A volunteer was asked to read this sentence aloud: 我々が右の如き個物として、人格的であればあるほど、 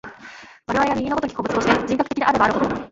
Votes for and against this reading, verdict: 1, 2, rejected